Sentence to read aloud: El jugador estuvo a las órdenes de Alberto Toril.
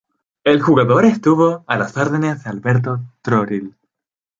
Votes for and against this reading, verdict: 0, 2, rejected